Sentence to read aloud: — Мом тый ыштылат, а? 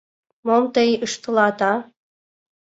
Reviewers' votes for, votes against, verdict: 2, 0, accepted